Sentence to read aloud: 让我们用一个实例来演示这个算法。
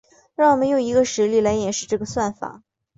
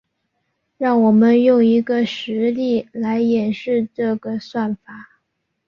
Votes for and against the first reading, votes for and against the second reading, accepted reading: 4, 0, 0, 2, first